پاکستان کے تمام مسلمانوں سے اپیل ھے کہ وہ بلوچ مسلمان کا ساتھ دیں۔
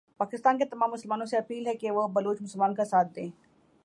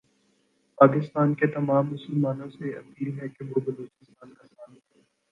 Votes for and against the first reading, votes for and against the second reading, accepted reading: 2, 0, 2, 3, first